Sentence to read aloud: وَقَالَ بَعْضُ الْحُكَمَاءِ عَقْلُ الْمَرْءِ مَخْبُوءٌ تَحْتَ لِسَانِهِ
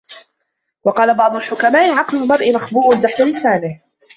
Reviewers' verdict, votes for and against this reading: rejected, 1, 2